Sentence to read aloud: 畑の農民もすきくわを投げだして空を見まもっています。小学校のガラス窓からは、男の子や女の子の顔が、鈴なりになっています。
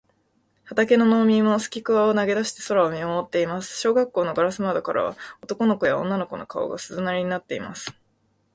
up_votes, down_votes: 4, 0